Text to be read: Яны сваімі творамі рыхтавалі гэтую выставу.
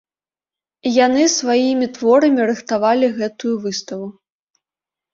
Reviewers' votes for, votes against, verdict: 0, 2, rejected